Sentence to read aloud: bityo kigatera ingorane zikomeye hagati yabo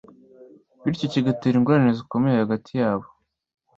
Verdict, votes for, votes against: accepted, 2, 0